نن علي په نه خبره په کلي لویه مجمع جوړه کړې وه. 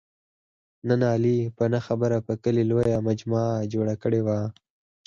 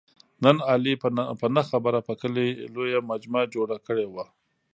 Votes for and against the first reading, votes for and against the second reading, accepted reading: 4, 2, 1, 2, first